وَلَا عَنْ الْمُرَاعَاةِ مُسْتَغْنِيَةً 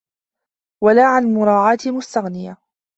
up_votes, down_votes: 2, 0